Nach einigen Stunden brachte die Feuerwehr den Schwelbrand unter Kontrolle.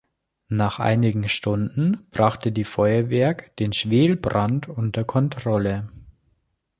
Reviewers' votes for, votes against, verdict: 0, 3, rejected